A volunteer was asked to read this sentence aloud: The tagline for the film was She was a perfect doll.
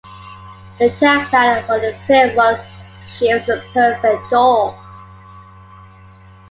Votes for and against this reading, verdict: 2, 0, accepted